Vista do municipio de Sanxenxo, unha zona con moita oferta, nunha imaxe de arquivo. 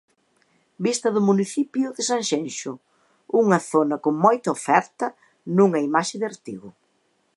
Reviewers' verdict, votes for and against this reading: rejected, 1, 2